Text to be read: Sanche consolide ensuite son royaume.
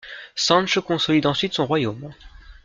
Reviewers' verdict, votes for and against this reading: accepted, 2, 0